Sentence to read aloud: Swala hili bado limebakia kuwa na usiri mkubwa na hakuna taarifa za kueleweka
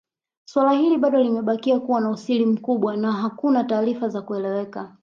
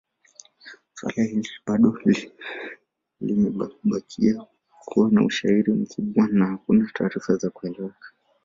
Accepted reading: first